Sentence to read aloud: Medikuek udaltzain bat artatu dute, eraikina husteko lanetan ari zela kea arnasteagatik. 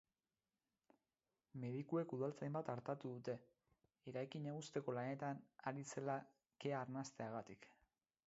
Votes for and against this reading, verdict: 4, 0, accepted